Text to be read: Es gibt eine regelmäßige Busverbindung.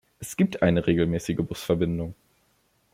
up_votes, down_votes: 2, 0